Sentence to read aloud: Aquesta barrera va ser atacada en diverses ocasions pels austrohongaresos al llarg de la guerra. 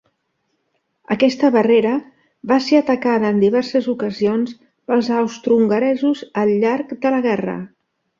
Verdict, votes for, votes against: accepted, 2, 0